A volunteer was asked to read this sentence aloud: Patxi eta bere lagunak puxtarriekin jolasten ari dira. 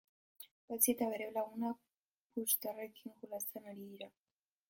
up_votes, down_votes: 2, 0